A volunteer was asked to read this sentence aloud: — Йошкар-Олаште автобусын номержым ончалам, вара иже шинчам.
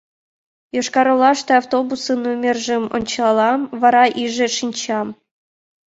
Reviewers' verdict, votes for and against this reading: accepted, 2, 0